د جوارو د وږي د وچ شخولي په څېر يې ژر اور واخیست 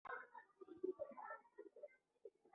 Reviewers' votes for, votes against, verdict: 0, 2, rejected